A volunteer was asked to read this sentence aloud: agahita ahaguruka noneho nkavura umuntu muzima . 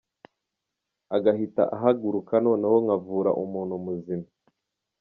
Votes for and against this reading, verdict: 2, 0, accepted